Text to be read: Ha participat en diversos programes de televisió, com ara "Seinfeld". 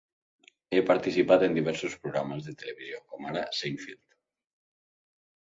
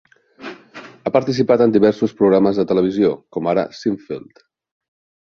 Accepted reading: second